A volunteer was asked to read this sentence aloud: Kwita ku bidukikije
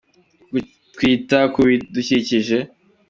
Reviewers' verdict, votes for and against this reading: accepted, 2, 1